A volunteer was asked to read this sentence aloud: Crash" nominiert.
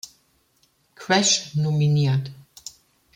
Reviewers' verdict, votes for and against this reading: accepted, 2, 0